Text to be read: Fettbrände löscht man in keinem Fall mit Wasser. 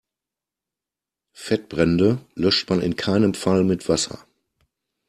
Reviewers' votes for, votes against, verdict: 2, 0, accepted